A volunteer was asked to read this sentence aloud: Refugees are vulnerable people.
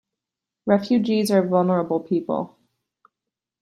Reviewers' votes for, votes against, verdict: 2, 1, accepted